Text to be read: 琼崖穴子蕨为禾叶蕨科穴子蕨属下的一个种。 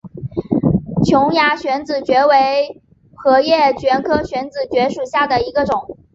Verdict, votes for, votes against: accepted, 5, 0